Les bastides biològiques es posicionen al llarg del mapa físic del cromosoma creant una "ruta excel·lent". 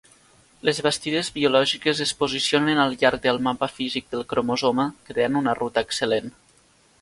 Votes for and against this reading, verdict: 2, 0, accepted